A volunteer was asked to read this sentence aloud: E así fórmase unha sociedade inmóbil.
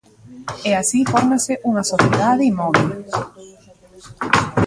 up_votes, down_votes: 1, 2